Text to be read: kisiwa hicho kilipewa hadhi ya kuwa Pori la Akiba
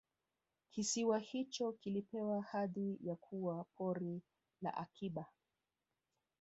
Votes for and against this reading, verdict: 2, 1, accepted